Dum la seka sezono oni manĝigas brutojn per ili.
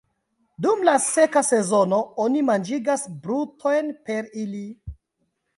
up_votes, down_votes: 2, 1